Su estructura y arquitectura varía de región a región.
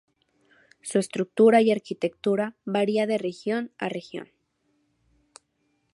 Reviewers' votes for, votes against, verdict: 2, 0, accepted